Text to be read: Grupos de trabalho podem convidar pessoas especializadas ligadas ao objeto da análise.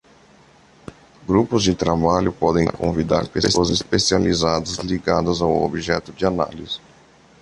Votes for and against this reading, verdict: 1, 2, rejected